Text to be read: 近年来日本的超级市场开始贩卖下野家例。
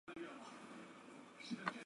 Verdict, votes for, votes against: rejected, 0, 2